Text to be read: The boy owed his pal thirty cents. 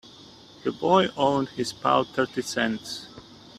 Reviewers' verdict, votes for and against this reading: rejected, 0, 2